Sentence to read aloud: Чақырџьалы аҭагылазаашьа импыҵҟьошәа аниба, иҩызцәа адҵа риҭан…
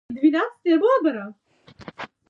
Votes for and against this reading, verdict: 0, 2, rejected